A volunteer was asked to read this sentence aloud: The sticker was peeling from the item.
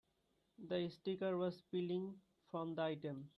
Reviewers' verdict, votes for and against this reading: accepted, 2, 1